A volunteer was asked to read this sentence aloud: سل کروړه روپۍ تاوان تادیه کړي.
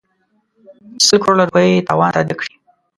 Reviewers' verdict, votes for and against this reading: rejected, 0, 2